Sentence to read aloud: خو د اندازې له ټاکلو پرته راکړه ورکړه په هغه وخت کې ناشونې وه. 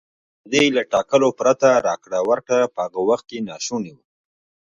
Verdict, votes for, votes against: rejected, 1, 2